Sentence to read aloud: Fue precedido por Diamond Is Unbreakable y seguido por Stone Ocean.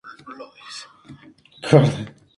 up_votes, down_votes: 0, 2